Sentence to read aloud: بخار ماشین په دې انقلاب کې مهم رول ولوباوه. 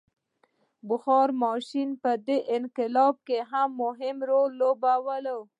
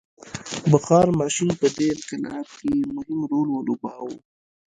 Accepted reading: first